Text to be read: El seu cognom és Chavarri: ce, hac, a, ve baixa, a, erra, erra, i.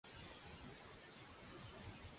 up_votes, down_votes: 0, 2